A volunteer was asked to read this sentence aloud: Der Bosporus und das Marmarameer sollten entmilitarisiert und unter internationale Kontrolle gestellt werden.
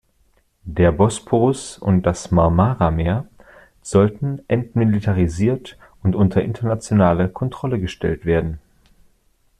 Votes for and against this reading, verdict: 2, 0, accepted